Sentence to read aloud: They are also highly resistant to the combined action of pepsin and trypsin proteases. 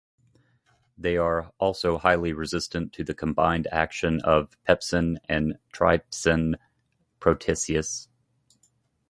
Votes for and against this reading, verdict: 1, 2, rejected